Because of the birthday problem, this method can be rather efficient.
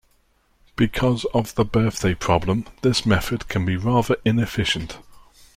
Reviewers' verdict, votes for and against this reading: rejected, 0, 2